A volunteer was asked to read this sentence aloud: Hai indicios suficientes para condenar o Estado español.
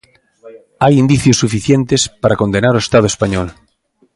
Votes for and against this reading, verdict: 2, 0, accepted